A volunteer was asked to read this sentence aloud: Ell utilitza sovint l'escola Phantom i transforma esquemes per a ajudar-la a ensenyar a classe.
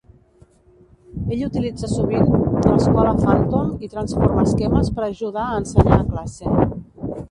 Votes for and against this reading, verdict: 1, 2, rejected